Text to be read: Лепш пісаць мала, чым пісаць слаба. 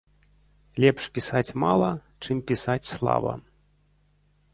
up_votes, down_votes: 3, 1